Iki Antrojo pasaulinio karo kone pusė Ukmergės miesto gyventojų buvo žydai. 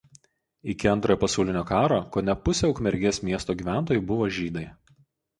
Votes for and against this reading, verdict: 2, 2, rejected